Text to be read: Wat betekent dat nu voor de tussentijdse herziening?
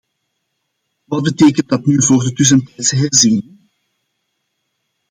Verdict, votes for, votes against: accepted, 2, 1